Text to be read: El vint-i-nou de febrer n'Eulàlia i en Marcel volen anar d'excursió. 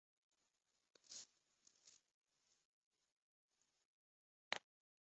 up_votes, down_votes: 0, 2